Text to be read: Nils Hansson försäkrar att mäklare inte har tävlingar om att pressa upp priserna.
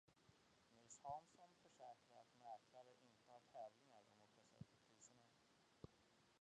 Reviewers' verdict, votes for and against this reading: rejected, 0, 2